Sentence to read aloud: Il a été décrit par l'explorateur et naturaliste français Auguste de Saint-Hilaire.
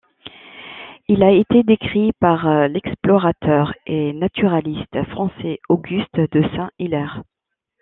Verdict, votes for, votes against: accepted, 2, 0